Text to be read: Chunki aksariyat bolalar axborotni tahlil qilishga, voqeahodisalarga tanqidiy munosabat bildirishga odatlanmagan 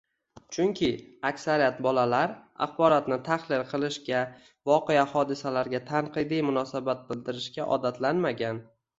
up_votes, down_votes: 1, 2